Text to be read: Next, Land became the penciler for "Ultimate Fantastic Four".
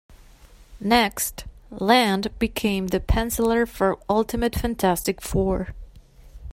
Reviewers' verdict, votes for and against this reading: accepted, 2, 0